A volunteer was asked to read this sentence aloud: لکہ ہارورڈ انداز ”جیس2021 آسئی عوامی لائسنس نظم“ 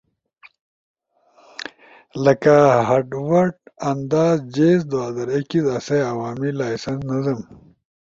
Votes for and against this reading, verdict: 0, 2, rejected